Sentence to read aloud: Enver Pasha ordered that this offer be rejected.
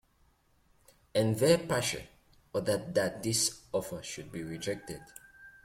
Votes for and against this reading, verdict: 0, 2, rejected